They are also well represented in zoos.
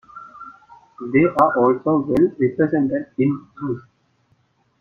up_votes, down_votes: 1, 2